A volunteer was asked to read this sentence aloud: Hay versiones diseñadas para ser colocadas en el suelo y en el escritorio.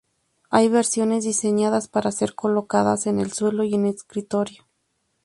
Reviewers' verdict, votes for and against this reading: rejected, 0, 2